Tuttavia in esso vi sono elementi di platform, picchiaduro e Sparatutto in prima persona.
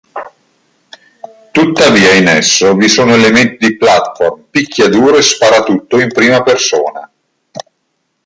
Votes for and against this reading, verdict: 2, 0, accepted